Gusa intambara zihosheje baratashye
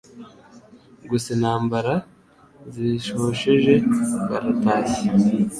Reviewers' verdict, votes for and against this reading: rejected, 1, 2